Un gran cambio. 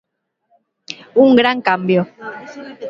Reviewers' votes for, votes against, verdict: 2, 0, accepted